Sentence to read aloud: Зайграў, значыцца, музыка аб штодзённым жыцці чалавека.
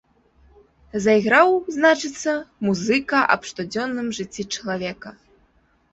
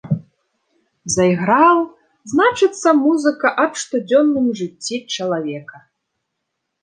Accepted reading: first